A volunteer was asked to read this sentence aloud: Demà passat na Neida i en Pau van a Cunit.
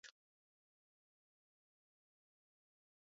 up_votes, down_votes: 0, 2